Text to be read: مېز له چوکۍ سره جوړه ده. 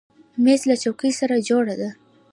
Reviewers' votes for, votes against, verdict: 0, 2, rejected